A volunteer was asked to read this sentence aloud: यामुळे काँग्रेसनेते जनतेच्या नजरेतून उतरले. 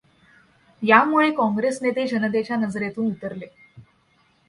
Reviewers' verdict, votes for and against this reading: accepted, 2, 0